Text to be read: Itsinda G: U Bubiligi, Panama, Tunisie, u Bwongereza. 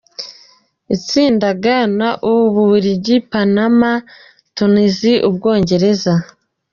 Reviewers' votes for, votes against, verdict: 1, 2, rejected